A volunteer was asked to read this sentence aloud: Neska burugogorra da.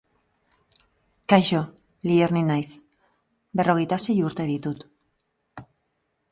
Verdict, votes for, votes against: rejected, 0, 2